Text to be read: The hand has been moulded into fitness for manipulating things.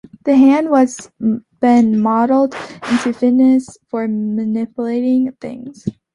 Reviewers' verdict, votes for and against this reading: rejected, 0, 2